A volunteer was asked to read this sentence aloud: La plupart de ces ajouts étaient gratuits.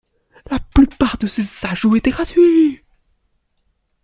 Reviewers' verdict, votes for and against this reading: rejected, 0, 2